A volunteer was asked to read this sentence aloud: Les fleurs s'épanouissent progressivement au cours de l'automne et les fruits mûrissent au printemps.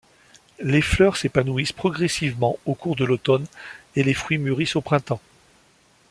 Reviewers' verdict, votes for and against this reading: accepted, 2, 0